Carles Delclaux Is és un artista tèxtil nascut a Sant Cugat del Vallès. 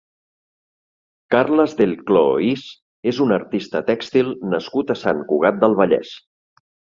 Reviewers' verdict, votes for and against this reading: accepted, 2, 0